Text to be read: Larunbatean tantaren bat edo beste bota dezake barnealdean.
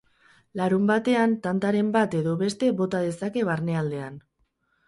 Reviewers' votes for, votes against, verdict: 2, 2, rejected